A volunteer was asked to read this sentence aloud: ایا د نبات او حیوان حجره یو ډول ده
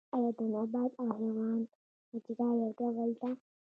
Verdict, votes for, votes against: rejected, 1, 2